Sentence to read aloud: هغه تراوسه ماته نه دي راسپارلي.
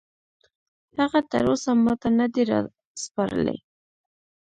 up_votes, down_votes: 1, 2